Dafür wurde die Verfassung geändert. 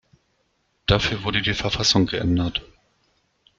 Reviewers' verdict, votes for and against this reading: accepted, 2, 0